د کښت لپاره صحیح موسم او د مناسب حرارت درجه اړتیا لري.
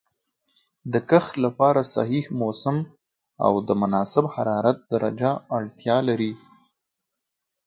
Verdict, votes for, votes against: accepted, 3, 0